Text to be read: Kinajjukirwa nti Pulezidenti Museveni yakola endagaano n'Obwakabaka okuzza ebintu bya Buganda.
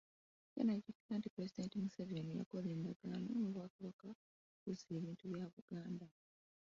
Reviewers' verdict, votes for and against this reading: rejected, 0, 2